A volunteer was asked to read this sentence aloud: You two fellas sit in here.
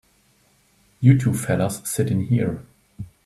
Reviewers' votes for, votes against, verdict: 2, 0, accepted